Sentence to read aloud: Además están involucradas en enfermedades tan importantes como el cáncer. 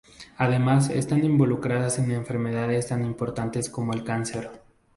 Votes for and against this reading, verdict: 2, 0, accepted